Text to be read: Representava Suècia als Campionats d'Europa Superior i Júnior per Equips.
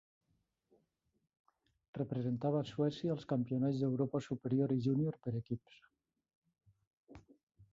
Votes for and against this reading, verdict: 2, 0, accepted